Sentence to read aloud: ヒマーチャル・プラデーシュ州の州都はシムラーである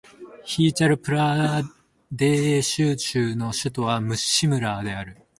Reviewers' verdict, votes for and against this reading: rejected, 0, 3